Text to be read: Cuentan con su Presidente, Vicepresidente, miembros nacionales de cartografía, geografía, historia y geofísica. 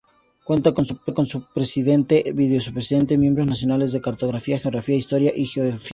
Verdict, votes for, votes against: rejected, 2, 2